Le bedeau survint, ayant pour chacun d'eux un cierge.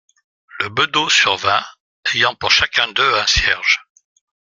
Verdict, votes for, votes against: rejected, 0, 2